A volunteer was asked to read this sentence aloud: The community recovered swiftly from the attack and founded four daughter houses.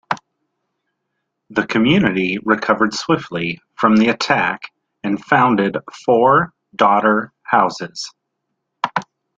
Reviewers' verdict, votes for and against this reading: accepted, 2, 0